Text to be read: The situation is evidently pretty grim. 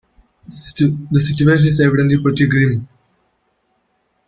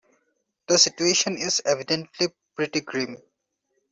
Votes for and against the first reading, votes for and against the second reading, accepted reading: 0, 2, 2, 0, second